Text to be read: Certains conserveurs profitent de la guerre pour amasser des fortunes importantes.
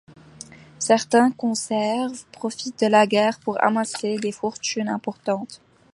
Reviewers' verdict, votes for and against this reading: rejected, 1, 2